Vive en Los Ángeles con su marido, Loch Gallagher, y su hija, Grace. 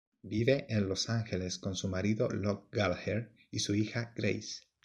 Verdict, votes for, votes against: accepted, 2, 0